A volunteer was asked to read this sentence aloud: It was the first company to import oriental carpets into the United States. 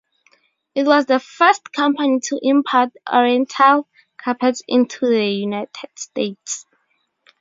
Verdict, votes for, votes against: accepted, 2, 0